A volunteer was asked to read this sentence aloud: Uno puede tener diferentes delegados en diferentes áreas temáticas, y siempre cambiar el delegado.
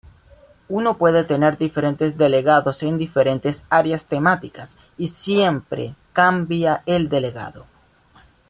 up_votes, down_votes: 1, 2